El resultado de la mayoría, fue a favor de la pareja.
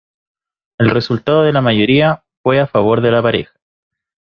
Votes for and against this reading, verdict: 2, 0, accepted